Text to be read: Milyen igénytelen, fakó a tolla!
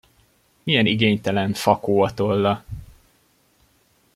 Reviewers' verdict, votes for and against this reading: accepted, 2, 0